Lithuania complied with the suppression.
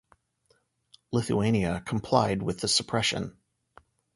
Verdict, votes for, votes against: accepted, 2, 0